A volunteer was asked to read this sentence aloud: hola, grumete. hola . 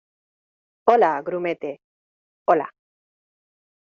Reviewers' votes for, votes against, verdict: 2, 0, accepted